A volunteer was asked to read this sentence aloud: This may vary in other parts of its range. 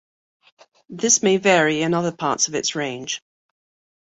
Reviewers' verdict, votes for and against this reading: accepted, 2, 0